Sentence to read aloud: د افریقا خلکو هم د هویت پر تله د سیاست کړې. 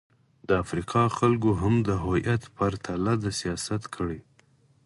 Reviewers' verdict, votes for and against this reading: accepted, 4, 0